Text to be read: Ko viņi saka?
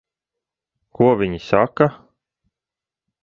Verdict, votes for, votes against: accepted, 2, 0